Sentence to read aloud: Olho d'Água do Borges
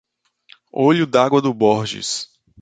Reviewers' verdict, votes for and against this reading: accepted, 2, 0